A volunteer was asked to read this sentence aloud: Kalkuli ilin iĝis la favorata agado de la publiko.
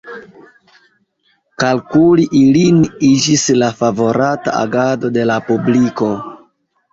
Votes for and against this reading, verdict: 2, 1, accepted